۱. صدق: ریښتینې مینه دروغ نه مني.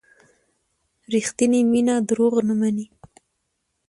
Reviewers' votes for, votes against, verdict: 0, 2, rejected